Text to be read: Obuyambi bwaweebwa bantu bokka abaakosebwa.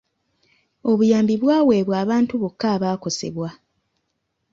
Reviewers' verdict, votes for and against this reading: accepted, 2, 1